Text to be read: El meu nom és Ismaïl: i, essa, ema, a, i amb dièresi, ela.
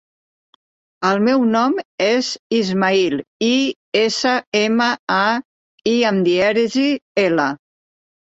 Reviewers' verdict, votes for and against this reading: accepted, 2, 0